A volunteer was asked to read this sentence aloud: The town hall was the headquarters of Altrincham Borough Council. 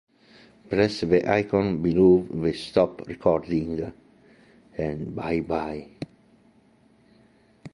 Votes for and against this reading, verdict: 0, 2, rejected